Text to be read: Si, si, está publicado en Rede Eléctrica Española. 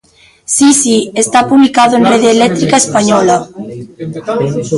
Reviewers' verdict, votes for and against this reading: accepted, 2, 1